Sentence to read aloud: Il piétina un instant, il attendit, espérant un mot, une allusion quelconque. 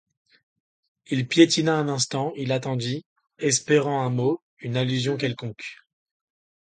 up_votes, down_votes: 2, 0